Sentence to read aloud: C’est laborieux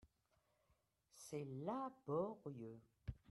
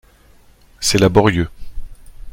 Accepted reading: second